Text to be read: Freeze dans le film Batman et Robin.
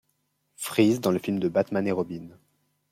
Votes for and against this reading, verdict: 1, 2, rejected